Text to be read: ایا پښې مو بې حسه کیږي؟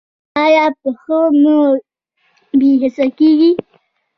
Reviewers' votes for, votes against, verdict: 1, 2, rejected